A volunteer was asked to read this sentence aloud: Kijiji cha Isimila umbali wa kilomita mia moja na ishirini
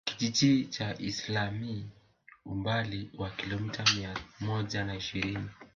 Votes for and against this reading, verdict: 0, 2, rejected